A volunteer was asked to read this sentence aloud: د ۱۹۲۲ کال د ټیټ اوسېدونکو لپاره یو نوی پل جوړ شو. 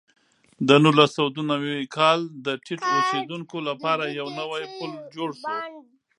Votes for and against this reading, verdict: 0, 2, rejected